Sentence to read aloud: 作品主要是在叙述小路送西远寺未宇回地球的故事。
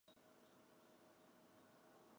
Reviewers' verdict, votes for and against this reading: rejected, 0, 4